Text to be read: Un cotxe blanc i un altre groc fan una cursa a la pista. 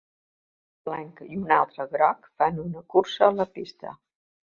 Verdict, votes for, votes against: rejected, 0, 2